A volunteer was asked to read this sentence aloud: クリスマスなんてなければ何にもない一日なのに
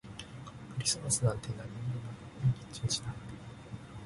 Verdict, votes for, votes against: rejected, 0, 2